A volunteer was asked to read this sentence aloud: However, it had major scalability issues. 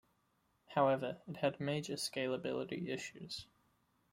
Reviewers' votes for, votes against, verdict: 2, 0, accepted